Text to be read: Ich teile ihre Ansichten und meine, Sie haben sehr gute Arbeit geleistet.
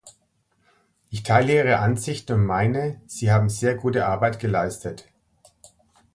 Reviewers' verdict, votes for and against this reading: rejected, 1, 2